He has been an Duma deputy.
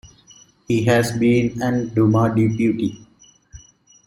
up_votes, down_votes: 2, 1